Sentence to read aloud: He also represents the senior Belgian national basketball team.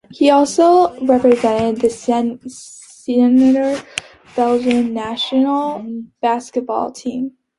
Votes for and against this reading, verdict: 0, 3, rejected